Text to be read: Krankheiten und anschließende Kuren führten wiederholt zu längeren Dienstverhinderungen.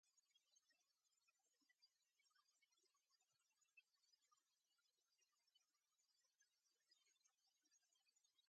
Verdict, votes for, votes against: rejected, 0, 2